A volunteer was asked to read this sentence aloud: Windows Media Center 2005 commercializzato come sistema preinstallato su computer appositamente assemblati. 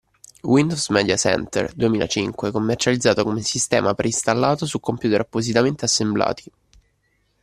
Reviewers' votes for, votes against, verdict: 0, 2, rejected